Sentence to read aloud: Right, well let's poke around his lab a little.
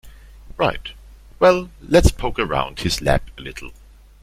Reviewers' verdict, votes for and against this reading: accepted, 2, 0